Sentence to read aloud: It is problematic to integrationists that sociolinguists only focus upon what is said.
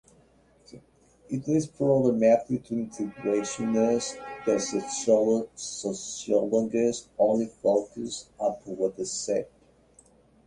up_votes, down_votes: 0, 2